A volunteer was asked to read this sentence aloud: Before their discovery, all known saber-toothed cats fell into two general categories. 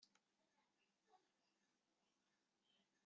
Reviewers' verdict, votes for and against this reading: rejected, 0, 2